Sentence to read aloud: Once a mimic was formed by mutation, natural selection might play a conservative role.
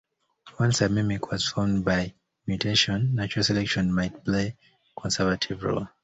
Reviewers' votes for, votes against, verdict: 2, 1, accepted